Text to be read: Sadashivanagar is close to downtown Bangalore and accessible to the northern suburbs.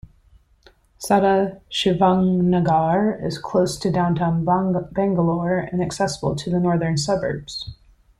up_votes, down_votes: 1, 3